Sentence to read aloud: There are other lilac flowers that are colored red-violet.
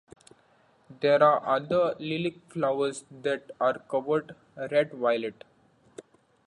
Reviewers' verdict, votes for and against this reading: accepted, 2, 1